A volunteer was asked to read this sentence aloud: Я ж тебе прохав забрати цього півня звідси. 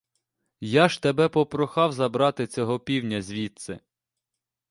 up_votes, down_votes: 0, 2